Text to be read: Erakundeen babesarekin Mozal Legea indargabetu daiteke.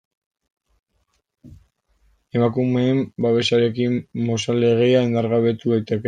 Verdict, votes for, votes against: rejected, 0, 2